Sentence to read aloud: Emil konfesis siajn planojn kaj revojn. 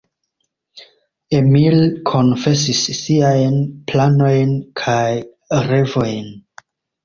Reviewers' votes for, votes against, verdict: 2, 0, accepted